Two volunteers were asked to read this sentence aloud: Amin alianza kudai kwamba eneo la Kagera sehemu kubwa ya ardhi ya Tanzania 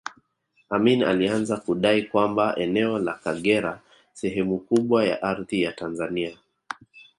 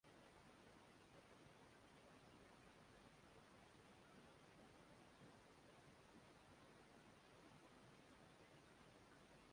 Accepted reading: first